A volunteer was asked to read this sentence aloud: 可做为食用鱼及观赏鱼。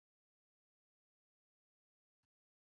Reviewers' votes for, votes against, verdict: 1, 3, rejected